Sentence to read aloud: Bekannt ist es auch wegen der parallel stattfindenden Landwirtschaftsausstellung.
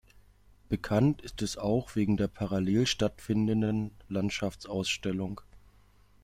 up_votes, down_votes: 0, 3